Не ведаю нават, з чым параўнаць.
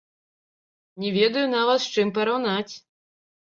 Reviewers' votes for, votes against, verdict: 2, 3, rejected